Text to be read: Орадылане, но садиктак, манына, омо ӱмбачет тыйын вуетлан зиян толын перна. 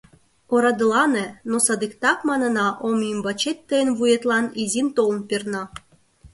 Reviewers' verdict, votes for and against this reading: rejected, 0, 2